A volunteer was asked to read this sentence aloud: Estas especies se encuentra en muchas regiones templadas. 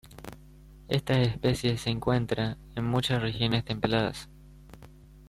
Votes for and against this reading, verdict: 2, 0, accepted